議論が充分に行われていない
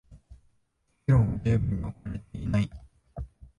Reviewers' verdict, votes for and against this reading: rejected, 0, 2